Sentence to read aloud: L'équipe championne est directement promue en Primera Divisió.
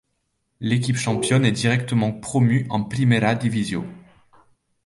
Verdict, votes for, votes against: accepted, 2, 0